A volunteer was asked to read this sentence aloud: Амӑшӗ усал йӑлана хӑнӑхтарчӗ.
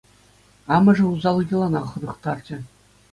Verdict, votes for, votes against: accepted, 2, 0